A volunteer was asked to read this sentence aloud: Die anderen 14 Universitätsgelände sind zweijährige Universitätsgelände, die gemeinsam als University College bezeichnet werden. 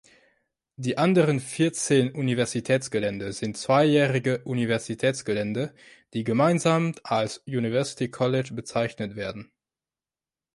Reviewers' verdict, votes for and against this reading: rejected, 0, 2